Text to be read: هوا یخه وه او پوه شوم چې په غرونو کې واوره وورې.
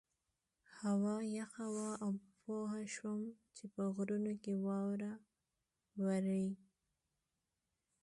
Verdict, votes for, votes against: rejected, 0, 2